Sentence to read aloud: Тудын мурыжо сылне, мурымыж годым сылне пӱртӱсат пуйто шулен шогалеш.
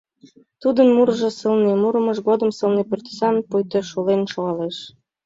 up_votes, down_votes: 3, 0